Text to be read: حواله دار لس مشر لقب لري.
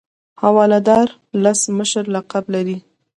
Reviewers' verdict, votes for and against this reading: accepted, 2, 0